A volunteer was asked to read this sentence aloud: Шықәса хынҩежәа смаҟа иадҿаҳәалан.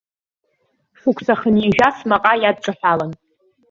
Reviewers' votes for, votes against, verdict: 1, 2, rejected